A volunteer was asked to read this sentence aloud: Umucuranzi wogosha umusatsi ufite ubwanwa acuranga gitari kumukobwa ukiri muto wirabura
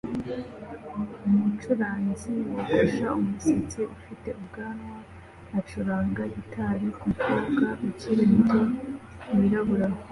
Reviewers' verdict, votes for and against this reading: accepted, 2, 0